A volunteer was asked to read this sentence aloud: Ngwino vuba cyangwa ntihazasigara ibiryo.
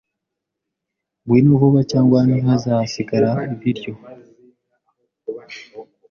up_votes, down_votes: 2, 0